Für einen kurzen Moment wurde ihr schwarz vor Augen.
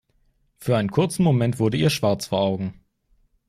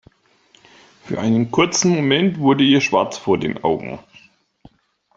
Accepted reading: first